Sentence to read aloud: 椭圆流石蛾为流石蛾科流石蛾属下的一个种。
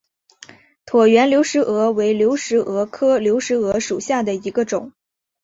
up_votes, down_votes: 2, 0